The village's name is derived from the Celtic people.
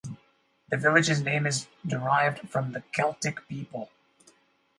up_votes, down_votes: 4, 0